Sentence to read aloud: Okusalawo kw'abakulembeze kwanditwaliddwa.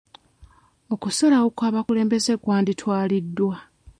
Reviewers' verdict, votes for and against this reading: accepted, 2, 0